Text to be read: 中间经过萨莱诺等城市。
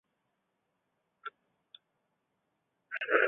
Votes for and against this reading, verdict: 0, 3, rejected